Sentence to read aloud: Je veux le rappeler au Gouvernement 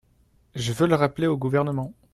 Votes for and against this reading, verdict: 2, 0, accepted